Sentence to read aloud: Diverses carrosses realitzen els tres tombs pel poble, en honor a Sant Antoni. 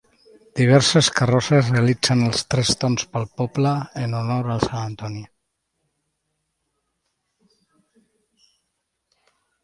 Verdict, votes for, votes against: rejected, 1, 2